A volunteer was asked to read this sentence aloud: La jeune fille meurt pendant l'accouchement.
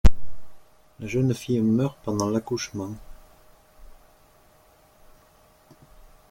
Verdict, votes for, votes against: rejected, 0, 2